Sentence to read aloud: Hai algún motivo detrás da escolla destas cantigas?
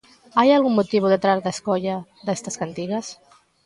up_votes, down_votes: 2, 1